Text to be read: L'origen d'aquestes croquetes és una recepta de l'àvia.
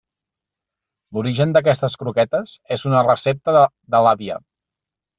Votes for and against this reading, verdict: 1, 2, rejected